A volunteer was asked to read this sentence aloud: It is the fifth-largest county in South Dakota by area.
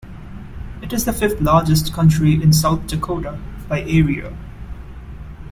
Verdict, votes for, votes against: rejected, 0, 2